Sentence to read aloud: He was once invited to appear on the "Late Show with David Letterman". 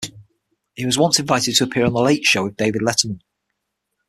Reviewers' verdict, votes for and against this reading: accepted, 6, 3